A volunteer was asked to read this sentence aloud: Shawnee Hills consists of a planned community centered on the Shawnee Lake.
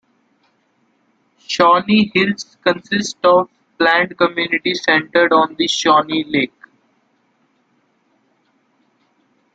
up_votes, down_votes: 0, 2